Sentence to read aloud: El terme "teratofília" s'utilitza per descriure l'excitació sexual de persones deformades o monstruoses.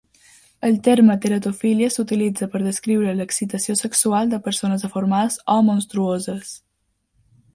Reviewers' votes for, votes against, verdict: 2, 0, accepted